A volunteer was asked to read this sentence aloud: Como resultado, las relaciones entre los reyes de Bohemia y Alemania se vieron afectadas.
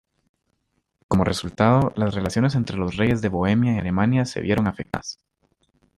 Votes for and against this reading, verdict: 0, 2, rejected